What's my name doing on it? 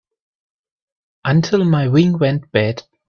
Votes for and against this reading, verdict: 0, 2, rejected